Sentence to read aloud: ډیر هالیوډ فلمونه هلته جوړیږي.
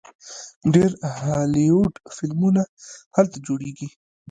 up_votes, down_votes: 1, 2